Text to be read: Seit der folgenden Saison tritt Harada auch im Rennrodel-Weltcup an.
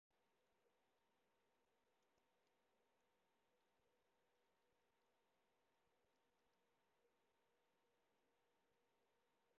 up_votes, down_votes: 0, 2